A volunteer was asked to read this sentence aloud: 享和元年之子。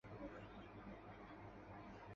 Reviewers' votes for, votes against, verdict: 1, 5, rejected